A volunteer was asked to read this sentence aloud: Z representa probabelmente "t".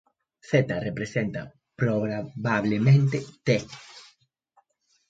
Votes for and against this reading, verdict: 0, 2, rejected